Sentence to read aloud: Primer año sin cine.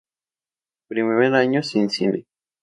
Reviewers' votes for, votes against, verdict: 0, 2, rejected